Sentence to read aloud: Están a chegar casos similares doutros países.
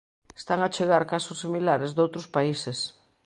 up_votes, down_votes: 2, 0